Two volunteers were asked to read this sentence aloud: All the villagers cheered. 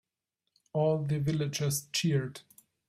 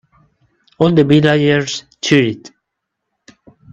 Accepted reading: first